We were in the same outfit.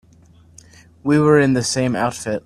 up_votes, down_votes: 2, 0